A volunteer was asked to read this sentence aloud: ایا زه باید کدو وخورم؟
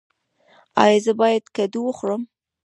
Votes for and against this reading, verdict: 1, 2, rejected